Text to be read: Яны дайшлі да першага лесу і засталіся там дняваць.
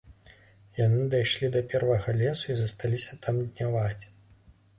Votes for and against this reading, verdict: 1, 2, rejected